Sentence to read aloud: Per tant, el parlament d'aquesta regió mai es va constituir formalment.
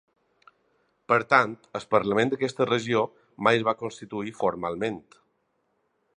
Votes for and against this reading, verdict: 0, 2, rejected